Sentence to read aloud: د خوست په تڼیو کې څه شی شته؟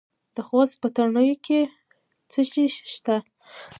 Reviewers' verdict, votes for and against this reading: accepted, 2, 1